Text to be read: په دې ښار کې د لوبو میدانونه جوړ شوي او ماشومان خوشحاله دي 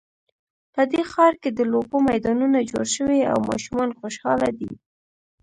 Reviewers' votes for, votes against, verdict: 1, 2, rejected